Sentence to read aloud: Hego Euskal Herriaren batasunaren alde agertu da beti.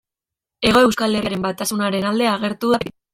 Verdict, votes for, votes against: rejected, 0, 2